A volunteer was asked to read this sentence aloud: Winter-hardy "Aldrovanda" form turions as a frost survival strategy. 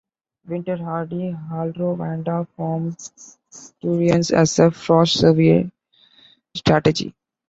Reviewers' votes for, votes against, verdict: 2, 1, accepted